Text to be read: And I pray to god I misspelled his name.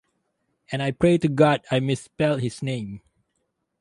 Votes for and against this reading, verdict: 0, 2, rejected